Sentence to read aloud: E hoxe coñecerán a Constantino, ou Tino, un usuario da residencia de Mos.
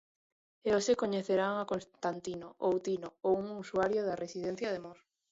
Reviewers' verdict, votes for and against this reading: rejected, 1, 2